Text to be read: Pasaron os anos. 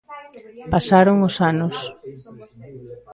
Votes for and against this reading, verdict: 0, 2, rejected